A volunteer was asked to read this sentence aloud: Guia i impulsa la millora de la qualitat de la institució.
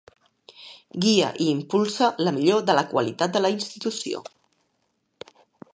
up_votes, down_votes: 0, 2